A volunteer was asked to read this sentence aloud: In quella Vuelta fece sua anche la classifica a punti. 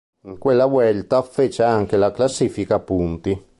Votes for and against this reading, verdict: 0, 3, rejected